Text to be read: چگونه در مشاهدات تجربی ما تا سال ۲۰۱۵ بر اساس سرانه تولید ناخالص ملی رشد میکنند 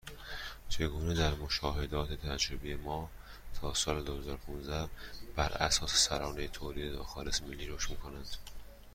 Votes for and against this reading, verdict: 0, 2, rejected